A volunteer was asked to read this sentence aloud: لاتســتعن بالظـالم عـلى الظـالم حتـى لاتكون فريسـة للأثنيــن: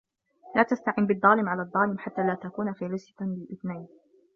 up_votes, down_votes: 0, 2